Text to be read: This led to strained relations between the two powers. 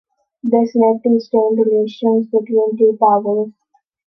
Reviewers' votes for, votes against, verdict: 1, 2, rejected